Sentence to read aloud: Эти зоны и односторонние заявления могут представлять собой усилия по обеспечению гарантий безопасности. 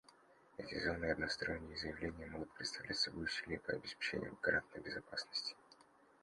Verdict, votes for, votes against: rejected, 0, 2